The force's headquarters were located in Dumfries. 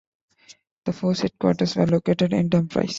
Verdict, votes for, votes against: rejected, 1, 3